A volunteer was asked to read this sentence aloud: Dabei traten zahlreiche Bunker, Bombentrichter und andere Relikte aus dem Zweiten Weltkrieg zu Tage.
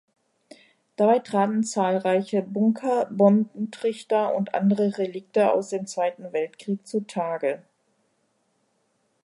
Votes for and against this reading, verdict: 1, 2, rejected